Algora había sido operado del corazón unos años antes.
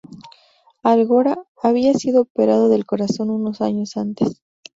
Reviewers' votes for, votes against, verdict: 0, 2, rejected